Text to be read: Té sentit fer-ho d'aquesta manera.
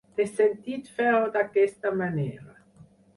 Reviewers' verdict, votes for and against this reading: rejected, 0, 4